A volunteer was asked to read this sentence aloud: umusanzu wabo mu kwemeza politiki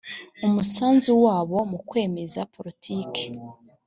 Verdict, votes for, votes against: accepted, 2, 0